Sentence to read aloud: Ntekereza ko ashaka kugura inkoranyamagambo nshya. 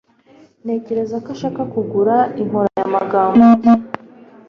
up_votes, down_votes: 1, 2